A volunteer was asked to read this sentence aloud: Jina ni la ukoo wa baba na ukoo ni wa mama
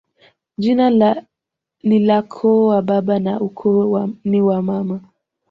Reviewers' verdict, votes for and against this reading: rejected, 1, 2